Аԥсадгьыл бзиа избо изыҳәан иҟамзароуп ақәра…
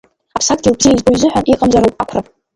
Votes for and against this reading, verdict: 1, 2, rejected